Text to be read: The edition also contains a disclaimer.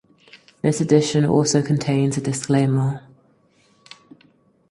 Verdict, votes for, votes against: rejected, 2, 4